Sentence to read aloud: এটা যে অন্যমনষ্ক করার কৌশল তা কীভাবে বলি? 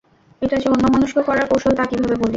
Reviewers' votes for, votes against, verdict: 0, 2, rejected